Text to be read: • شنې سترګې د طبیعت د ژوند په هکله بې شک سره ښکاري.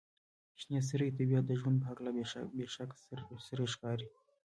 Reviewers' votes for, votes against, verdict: 2, 0, accepted